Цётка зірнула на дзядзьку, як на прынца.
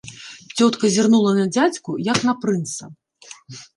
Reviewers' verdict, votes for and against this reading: accepted, 2, 0